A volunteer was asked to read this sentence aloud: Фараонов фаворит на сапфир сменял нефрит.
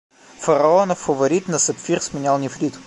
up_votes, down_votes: 0, 2